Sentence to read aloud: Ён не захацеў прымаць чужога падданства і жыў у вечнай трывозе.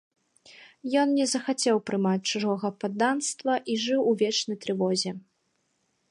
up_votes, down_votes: 3, 0